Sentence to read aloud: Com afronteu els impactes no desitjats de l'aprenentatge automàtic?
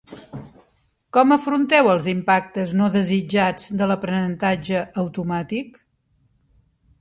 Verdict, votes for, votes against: rejected, 0, 2